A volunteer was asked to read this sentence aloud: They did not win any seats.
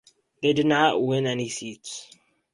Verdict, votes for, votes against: accepted, 4, 0